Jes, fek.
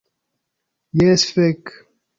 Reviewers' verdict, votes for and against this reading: accepted, 2, 0